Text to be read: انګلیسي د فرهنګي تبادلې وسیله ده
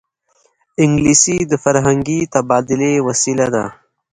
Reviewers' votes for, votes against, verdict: 2, 0, accepted